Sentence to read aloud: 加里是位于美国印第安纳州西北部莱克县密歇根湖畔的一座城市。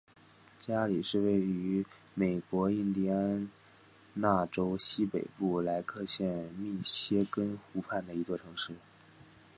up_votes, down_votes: 3, 2